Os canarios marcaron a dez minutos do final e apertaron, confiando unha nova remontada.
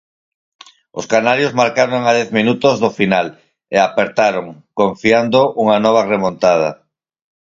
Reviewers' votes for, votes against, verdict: 4, 0, accepted